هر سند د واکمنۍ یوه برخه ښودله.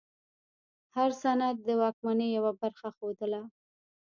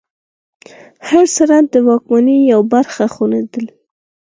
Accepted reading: second